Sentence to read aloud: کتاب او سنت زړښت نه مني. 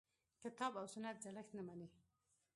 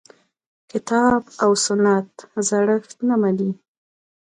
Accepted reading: second